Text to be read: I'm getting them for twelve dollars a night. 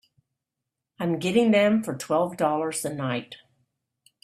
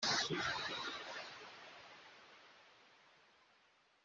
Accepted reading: first